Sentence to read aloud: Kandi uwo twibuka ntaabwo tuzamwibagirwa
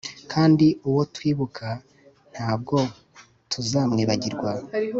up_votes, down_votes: 2, 0